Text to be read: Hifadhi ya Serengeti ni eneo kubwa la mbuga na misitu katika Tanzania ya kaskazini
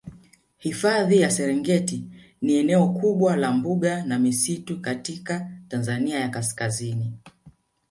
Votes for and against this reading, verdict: 2, 0, accepted